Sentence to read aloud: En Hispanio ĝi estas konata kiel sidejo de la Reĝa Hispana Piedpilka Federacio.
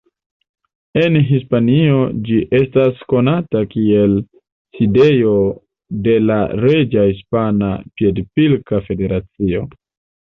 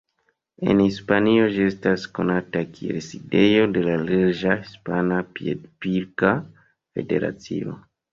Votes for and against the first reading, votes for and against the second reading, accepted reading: 2, 0, 1, 2, first